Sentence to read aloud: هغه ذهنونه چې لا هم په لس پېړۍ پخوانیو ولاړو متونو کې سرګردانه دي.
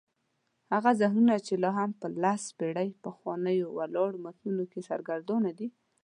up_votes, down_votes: 2, 0